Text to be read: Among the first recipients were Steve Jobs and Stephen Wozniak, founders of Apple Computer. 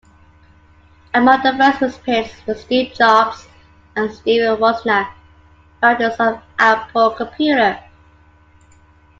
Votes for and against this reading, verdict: 2, 1, accepted